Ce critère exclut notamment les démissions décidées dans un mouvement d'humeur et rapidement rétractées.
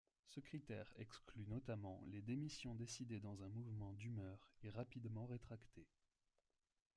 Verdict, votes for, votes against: accepted, 2, 0